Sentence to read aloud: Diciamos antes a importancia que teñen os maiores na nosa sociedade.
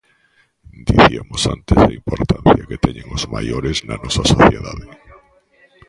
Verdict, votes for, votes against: rejected, 0, 2